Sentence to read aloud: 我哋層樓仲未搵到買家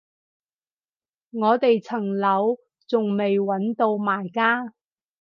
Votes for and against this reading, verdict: 2, 2, rejected